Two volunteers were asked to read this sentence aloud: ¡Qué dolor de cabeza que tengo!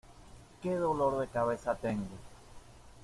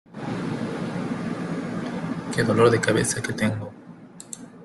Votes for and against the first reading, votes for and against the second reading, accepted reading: 0, 2, 2, 0, second